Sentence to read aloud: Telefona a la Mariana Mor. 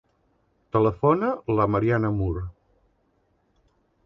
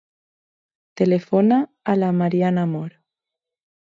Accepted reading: second